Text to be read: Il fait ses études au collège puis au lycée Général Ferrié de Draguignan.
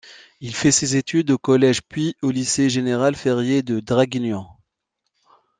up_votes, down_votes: 2, 0